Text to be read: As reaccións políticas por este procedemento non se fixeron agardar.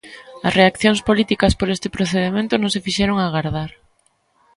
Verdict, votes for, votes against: rejected, 1, 2